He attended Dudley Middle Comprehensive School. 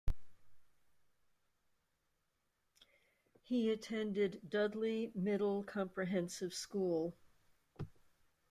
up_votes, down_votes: 2, 0